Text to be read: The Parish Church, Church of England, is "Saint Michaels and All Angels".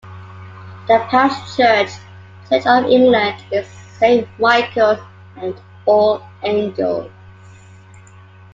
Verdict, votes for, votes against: rejected, 0, 2